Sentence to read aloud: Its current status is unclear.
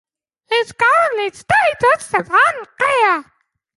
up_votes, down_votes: 0, 2